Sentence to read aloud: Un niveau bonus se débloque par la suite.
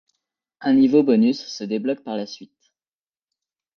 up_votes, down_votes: 2, 0